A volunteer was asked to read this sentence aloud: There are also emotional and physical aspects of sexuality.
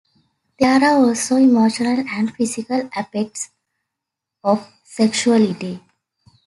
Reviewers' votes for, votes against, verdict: 0, 2, rejected